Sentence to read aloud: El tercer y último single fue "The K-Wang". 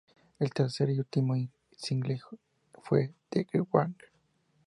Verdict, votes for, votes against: rejected, 0, 2